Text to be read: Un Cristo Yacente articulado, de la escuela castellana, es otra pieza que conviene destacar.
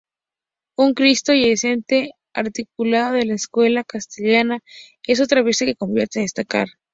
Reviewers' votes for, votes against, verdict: 2, 0, accepted